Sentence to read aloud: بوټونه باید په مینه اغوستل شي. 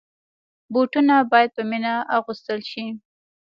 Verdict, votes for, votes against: rejected, 0, 2